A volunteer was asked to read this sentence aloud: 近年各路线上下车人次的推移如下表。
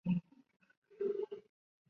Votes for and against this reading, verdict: 0, 3, rejected